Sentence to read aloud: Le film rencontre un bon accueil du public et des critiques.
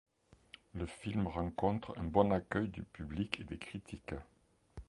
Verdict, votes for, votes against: accepted, 2, 0